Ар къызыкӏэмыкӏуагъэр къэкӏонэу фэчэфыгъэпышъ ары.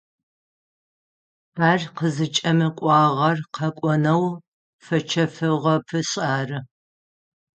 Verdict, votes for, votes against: accepted, 6, 0